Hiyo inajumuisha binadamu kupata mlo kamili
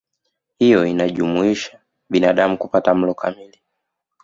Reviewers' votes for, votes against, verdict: 2, 0, accepted